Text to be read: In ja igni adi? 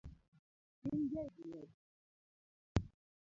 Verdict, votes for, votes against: rejected, 0, 2